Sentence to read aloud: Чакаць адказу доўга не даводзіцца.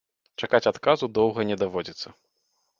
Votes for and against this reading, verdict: 2, 0, accepted